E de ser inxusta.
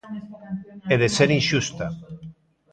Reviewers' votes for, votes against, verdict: 1, 2, rejected